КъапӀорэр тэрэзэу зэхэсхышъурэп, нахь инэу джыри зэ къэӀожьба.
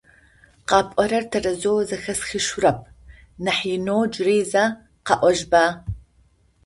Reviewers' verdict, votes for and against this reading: accepted, 4, 0